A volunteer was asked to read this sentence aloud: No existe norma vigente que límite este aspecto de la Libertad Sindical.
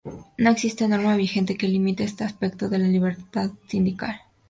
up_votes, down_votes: 4, 0